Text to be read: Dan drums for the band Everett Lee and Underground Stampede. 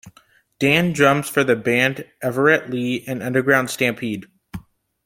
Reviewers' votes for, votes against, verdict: 2, 0, accepted